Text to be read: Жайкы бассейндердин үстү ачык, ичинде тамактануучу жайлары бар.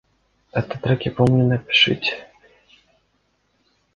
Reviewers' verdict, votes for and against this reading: rejected, 0, 2